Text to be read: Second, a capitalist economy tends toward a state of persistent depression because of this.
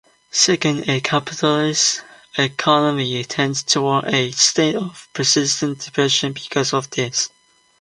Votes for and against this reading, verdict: 2, 1, accepted